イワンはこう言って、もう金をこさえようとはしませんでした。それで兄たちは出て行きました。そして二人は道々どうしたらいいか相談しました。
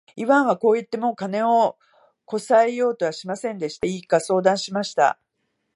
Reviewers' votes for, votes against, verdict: 0, 2, rejected